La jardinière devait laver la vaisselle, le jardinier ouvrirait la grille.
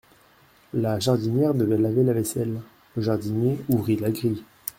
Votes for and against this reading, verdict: 0, 2, rejected